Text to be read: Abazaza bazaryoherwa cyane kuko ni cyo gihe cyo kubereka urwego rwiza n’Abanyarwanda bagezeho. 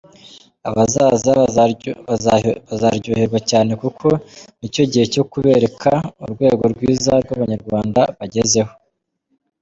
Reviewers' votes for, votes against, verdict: 0, 2, rejected